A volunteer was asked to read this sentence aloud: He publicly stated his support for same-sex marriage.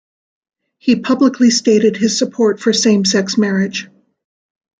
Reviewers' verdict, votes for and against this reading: accepted, 2, 0